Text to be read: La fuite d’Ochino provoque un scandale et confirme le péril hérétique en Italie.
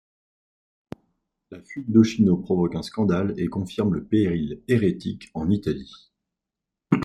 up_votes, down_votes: 1, 2